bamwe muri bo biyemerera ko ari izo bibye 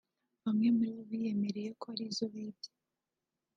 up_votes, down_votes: 2, 0